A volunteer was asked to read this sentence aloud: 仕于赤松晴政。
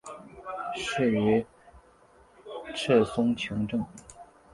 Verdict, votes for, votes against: accepted, 2, 0